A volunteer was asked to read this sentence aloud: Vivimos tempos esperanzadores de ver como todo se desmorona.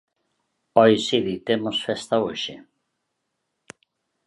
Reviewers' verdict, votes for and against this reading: rejected, 0, 2